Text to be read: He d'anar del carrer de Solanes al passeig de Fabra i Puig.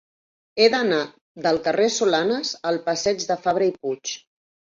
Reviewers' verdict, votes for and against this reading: rejected, 0, 2